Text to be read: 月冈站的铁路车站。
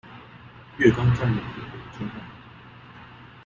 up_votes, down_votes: 0, 2